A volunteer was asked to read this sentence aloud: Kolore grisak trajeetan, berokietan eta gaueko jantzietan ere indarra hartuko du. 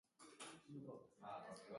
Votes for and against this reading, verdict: 0, 2, rejected